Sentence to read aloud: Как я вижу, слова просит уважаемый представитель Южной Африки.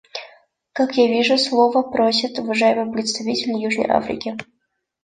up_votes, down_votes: 2, 0